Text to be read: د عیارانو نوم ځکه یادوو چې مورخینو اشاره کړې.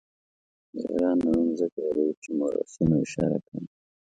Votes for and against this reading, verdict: 0, 2, rejected